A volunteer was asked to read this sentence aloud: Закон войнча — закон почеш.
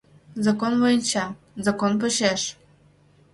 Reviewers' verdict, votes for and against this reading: accepted, 2, 0